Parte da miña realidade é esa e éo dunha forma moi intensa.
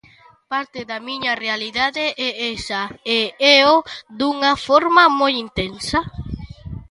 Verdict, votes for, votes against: accepted, 2, 0